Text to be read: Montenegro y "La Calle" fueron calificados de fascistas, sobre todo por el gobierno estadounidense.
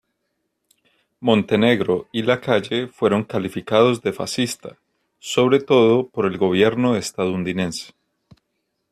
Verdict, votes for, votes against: rejected, 0, 2